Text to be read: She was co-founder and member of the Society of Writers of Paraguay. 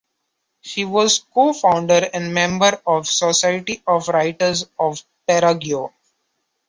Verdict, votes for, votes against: accepted, 2, 1